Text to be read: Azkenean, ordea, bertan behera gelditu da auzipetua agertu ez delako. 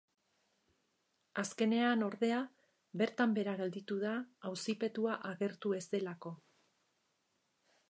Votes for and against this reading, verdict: 2, 0, accepted